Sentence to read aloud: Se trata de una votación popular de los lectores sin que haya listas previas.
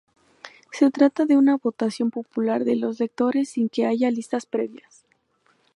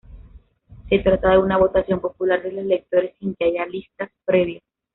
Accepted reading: first